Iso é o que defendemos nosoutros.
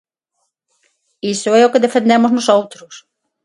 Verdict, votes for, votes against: accepted, 6, 0